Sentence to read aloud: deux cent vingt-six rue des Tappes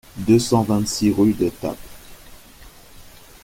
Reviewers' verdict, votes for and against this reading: rejected, 1, 2